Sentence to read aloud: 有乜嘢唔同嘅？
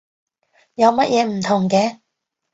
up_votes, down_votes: 2, 0